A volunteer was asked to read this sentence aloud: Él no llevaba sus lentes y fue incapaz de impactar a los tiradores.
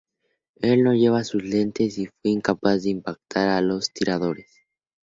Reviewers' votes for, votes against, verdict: 2, 0, accepted